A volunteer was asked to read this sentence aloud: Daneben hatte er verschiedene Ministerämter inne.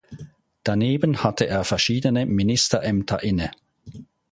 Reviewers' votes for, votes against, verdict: 2, 0, accepted